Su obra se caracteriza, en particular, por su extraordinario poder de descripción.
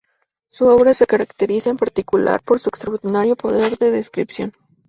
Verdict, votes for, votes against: rejected, 0, 2